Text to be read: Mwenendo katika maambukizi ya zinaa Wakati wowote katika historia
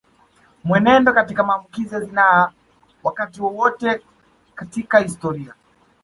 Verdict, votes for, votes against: rejected, 0, 2